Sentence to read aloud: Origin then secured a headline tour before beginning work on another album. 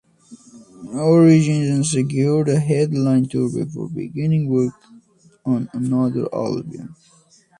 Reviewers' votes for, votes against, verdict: 2, 1, accepted